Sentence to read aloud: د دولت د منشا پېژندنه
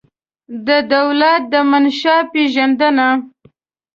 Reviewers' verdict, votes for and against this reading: accepted, 2, 0